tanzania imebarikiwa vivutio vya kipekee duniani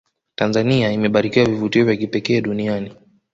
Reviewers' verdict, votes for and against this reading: accepted, 2, 1